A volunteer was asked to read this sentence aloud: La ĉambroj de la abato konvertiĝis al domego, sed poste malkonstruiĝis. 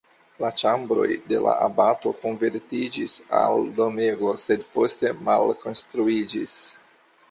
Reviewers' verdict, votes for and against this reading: accepted, 2, 0